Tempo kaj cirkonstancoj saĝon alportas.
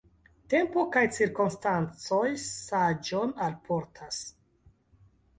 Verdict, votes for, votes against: accepted, 2, 0